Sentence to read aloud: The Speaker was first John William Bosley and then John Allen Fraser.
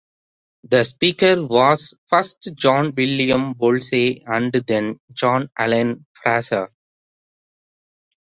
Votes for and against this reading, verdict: 2, 1, accepted